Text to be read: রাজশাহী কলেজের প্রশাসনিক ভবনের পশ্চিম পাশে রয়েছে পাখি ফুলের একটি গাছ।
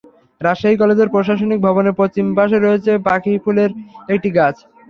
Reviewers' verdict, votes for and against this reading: accepted, 3, 0